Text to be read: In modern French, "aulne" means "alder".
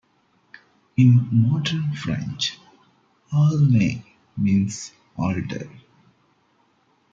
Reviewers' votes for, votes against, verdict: 2, 1, accepted